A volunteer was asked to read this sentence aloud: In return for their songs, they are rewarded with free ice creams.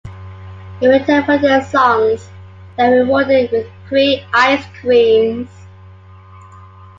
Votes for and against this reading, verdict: 2, 0, accepted